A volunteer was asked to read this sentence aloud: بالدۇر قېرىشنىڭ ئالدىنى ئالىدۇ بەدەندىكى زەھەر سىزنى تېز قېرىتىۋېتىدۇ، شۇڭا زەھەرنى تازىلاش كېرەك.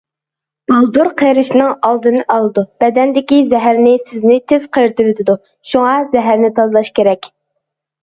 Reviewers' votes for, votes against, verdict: 0, 2, rejected